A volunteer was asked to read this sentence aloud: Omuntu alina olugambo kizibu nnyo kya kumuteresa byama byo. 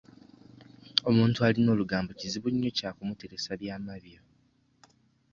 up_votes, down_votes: 1, 2